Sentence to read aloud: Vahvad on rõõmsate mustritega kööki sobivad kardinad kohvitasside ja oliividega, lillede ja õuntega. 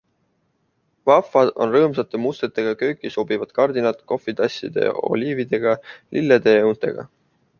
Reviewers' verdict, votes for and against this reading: accepted, 2, 0